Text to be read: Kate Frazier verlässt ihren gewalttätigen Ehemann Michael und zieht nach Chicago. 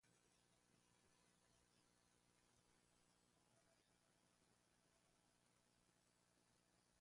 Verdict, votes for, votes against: rejected, 0, 2